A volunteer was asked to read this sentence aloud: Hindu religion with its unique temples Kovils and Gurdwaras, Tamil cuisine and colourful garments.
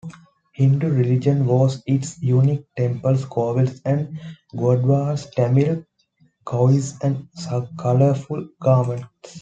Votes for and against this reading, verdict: 0, 2, rejected